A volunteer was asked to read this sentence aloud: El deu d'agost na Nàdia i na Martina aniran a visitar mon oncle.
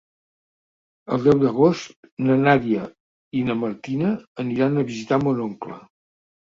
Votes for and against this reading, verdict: 4, 0, accepted